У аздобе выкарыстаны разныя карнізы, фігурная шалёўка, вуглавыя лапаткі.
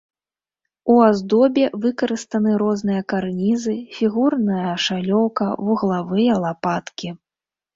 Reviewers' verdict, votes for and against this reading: accepted, 2, 1